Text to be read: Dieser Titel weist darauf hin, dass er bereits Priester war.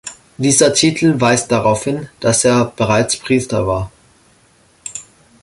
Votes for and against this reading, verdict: 2, 0, accepted